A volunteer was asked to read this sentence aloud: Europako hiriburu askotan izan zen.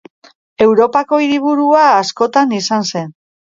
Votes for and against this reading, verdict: 0, 2, rejected